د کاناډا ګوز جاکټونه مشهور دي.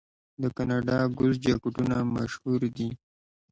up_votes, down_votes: 2, 0